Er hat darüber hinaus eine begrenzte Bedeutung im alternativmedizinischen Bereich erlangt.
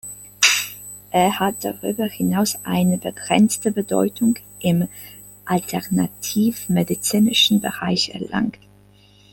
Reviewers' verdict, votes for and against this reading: accepted, 2, 0